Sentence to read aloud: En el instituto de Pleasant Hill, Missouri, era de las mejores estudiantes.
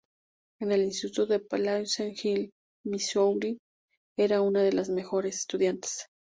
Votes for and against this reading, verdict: 0, 2, rejected